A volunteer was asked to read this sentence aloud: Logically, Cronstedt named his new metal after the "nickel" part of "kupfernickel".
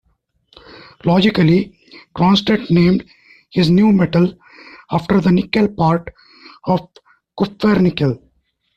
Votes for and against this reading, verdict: 2, 0, accepted